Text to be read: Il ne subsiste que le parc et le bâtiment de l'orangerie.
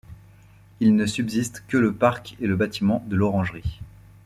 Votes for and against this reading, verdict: 2, 0, accepted